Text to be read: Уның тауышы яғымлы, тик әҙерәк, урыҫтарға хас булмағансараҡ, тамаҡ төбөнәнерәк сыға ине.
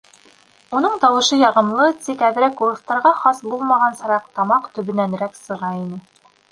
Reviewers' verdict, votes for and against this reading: accepted, 2, 0